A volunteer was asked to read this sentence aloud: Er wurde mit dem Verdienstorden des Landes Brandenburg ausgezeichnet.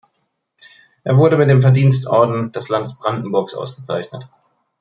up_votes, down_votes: 3, 0